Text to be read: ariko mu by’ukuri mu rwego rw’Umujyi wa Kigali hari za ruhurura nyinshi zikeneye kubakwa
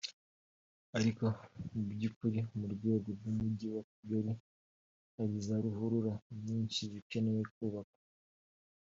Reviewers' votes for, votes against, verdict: 2, 0, accepted